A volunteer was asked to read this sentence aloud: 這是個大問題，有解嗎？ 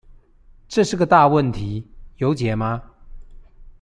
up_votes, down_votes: 2, 0